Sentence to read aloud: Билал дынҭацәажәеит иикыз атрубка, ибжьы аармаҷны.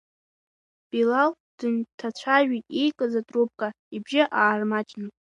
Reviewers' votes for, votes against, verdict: 1, 2, rejected